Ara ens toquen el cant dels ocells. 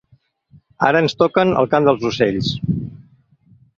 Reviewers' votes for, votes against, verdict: 2, 0, accepted